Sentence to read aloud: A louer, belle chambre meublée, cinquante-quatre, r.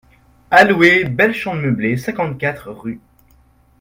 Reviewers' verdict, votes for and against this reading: rejected, 0, 2